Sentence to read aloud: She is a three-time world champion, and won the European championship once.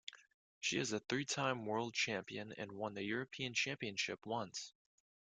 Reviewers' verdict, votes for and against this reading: accepted, 2, 0